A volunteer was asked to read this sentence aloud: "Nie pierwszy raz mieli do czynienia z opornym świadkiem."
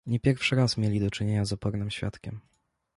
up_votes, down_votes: 2, 0